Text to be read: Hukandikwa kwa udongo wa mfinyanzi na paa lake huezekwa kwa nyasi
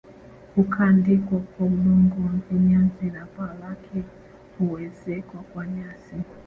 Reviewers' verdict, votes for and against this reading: rejected, 0, 2